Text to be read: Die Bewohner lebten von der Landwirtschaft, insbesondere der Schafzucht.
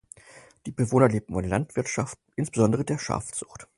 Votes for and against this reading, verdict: 2, 4, rejected